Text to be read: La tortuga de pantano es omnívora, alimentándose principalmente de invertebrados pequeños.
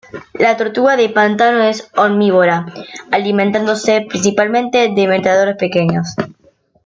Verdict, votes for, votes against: rejected, 1, 2